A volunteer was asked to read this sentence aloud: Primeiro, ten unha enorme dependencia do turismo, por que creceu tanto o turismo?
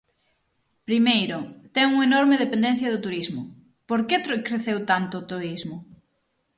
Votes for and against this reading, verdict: 0, 6, rejected